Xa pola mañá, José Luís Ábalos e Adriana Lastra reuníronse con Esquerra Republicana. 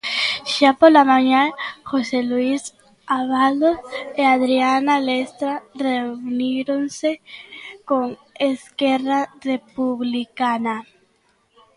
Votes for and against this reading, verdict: 0, 2, rejected